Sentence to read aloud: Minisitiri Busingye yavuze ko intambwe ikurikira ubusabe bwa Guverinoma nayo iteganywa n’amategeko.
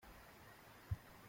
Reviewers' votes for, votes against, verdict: 0, 2, rejected